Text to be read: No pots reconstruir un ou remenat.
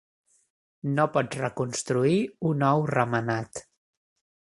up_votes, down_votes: 4, 0